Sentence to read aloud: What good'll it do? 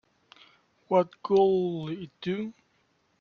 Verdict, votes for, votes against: rejected, 1, 3